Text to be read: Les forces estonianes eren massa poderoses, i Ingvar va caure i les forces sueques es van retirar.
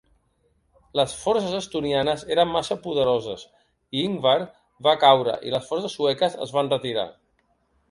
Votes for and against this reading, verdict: 2, 0, accepted